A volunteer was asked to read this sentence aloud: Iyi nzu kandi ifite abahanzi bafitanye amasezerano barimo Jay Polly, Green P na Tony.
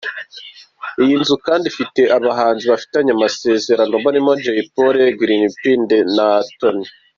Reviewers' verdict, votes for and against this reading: rejected, 0, 2